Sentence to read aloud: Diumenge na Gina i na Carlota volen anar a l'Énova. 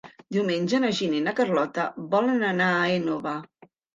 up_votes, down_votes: 1, 2